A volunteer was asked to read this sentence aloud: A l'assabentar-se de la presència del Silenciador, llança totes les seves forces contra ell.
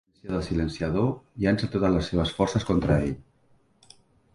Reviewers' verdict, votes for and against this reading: rejected, 0, 3